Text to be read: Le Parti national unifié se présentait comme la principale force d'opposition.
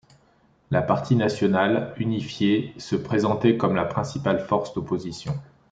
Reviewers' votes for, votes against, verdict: 0, 3, rejected